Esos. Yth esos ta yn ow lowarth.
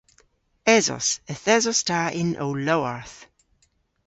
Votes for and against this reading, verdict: 2, 0, accepted